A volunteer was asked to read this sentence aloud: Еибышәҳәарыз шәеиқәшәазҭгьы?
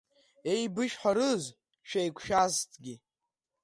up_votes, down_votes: 2, 1